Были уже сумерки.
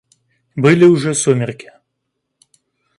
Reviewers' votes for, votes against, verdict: 2, 0, accepted